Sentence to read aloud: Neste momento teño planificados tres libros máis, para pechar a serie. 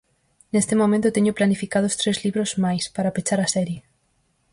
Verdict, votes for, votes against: accepted, 4, 0